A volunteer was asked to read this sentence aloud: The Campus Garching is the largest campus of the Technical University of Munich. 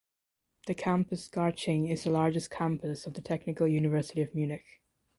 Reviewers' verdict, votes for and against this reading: accepted, 2, 0